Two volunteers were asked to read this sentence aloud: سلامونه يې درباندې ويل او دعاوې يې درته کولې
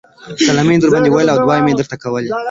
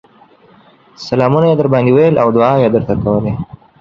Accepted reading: second